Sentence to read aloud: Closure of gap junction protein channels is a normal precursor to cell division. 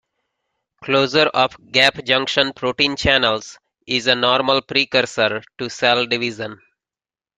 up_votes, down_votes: 2, 0